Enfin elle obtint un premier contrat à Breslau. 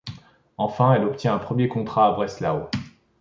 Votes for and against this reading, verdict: 1, 2, rejected